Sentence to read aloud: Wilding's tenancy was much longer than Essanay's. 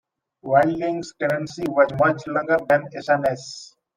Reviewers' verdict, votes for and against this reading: rejected, 0, 2